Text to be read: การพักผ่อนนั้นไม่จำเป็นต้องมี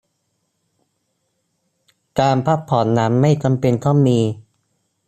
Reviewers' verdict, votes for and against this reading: accepted, 2, 0